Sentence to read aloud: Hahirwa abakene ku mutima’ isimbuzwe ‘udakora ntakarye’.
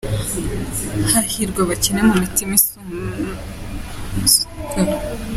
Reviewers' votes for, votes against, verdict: 0, 2, rejected